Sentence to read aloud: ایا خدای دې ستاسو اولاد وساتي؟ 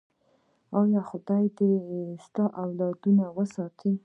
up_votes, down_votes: 1, 2